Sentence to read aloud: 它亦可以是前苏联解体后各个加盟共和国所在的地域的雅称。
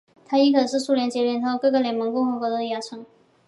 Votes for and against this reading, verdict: 0, 2, rejected